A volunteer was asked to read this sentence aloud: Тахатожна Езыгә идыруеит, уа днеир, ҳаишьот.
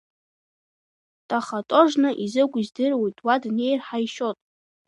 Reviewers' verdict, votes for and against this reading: rejected, 0, 2